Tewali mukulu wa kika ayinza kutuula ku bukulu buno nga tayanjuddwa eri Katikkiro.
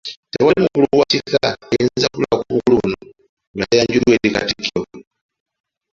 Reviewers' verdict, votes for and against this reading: rejected, 0, 2